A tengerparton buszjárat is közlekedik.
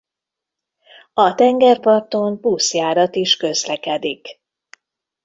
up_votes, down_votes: 2, 0